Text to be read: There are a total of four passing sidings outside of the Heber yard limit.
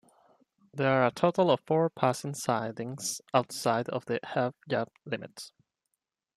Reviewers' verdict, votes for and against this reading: rejected, 0, 2